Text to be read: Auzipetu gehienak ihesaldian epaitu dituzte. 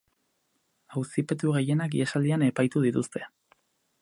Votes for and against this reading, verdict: 4, 0, accepted